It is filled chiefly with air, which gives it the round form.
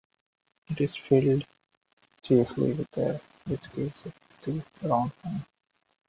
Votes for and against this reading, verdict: 1, 2, rejected